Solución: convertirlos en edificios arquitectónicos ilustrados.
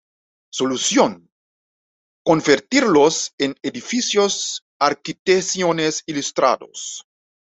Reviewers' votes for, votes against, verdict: 1, 2, rejected